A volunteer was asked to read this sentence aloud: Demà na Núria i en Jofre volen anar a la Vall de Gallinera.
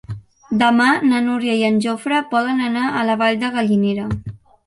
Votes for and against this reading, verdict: 1, 2, rejected